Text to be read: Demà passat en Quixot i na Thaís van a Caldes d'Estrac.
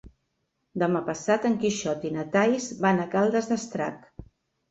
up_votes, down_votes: 3, 0